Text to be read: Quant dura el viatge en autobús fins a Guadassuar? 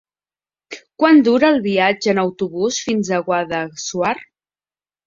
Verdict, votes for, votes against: accepted, 2, 0